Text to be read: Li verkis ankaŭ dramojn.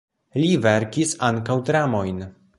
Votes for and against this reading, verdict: 2, 0, accepted